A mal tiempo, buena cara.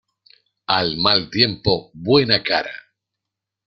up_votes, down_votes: 1, 2